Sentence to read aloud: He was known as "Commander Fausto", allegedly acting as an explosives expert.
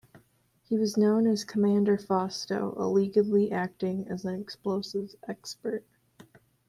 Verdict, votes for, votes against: rejected, 1, 2